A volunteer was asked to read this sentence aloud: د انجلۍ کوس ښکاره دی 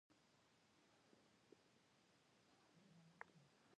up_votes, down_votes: 0, 2